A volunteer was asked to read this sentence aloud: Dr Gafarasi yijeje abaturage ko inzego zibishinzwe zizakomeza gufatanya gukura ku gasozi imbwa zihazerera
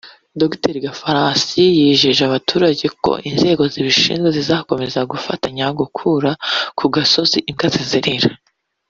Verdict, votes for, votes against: rejected, 1, 2